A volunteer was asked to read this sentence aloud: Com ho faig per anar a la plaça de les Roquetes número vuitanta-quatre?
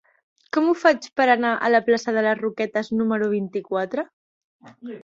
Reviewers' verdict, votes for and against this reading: rejected, 0, 2